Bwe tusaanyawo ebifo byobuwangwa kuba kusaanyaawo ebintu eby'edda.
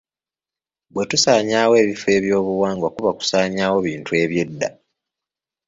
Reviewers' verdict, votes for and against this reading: accepted, 2, 0